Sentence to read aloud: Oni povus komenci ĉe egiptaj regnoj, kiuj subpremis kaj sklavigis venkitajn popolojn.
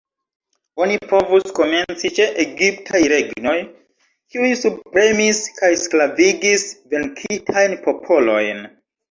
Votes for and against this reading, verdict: 0, 2, rejected